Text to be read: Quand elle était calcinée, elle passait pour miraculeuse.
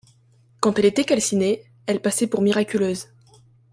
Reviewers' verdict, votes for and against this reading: accepted, 2, 0